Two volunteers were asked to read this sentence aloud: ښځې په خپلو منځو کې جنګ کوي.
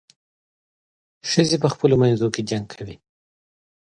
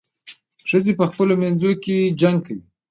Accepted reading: first